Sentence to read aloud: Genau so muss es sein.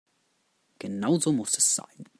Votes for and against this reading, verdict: 2, 0, accepted